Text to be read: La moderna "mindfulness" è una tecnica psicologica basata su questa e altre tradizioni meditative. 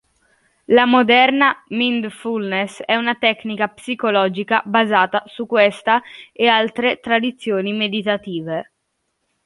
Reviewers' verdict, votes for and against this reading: rejected, 0, 2